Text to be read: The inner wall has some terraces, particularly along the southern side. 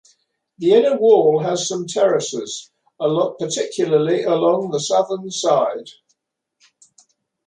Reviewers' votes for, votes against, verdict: 0, 2, rejected